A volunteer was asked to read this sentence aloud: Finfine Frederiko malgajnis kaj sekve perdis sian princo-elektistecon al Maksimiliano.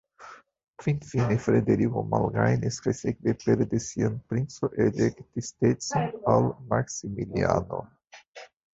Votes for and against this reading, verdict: 1, 2, rejected